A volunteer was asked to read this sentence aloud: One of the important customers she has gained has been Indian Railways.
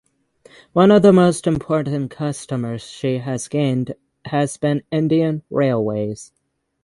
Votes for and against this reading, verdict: 0, 6, rejected